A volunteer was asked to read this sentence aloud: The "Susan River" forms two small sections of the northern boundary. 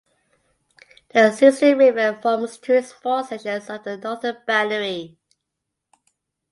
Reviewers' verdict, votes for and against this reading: rejected, 0, 2